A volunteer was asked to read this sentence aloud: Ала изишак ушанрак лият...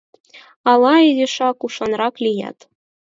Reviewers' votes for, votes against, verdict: 4, 0, accepted